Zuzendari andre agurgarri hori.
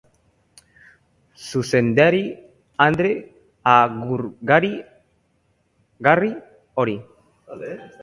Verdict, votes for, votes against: rejected, 0, 3